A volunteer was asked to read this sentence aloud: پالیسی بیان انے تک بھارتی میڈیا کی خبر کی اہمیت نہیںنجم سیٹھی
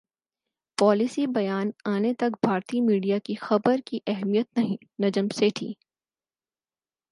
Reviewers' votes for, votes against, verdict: 4, 0, accepted